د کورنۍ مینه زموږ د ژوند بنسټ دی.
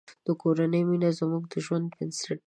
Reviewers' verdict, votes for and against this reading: rejected, 1, 2